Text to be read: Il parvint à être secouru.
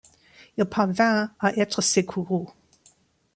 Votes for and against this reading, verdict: 1, 2, rejected